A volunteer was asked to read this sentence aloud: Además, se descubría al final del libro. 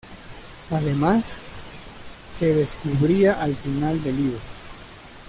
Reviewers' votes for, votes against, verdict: 2, 0, accepted